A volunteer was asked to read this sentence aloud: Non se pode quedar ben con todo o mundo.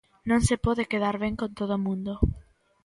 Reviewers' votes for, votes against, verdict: 2, 0, accepted